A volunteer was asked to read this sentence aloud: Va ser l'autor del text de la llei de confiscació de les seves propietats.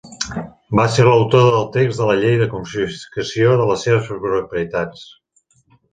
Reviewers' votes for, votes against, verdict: 0, 2, rejected